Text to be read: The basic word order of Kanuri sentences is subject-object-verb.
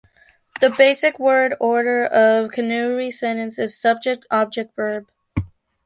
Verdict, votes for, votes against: accepted, 2, 1